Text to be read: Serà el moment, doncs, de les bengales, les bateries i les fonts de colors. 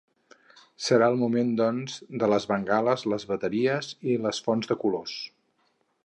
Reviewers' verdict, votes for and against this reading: accepted, 2, 0